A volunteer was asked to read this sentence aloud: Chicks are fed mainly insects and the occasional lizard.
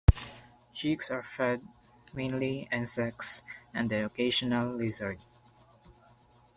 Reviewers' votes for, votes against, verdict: 2, 0, accepted